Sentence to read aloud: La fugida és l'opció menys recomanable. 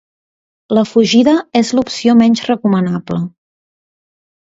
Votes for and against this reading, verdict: 2, 0, accepted